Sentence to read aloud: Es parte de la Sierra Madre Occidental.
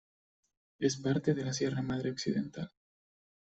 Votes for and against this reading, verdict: 1, 2, rejected